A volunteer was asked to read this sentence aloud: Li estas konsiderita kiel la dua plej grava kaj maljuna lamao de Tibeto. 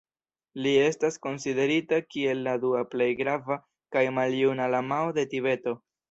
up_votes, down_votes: 2, 1